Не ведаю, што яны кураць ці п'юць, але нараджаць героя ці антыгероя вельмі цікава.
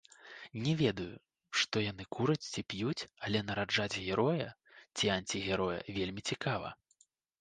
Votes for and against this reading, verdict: 0, 2, rejected